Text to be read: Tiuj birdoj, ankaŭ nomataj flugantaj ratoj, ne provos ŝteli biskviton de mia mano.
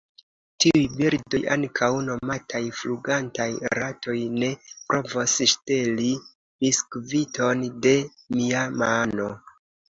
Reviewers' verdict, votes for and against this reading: accepted, 3, 0